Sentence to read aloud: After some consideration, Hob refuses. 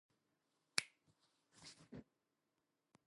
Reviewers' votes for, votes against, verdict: 0, 2, rejected